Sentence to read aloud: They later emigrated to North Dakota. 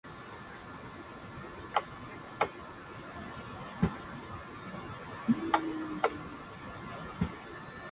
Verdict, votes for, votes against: rejected, 0, 2